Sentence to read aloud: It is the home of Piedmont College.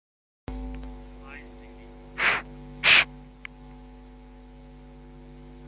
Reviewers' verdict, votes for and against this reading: rejected, 0, 2